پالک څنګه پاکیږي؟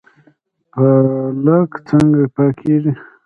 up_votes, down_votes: 0, 2